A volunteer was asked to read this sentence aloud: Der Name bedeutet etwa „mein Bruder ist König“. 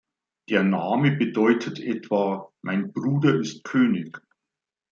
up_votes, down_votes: 2, 1